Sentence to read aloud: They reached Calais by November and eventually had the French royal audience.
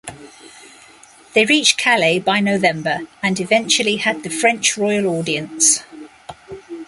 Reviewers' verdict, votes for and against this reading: accepted, 2, 0